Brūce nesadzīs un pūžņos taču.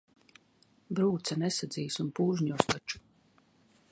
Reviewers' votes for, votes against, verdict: 0, 2, rejected